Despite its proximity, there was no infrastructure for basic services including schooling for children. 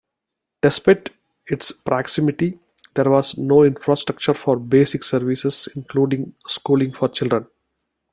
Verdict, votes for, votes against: accepted, 2, 0